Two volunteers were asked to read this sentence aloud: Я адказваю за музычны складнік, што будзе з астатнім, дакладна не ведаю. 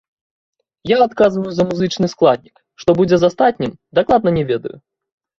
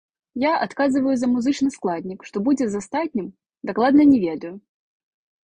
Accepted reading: first